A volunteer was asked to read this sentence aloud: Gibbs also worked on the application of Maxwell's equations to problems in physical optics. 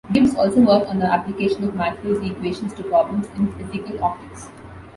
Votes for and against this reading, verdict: 2, 1, accepted